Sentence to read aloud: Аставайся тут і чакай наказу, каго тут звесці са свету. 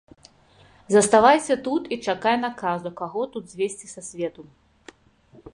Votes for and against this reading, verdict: 0, 2, rejected